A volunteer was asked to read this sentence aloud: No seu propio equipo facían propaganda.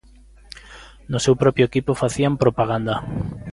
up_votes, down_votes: 2, 0